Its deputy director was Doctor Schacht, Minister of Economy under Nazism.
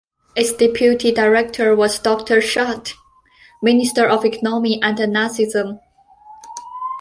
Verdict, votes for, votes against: accepted, 2, 1